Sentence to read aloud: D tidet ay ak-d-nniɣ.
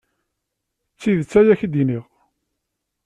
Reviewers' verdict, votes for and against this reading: rejected, 1, 2